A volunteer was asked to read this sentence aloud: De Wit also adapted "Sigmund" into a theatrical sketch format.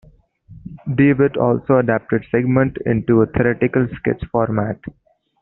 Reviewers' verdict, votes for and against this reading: rejected, 1, 2